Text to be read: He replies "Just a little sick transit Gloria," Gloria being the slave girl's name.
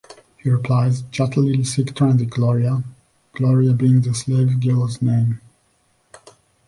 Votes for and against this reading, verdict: 2, 1, accepted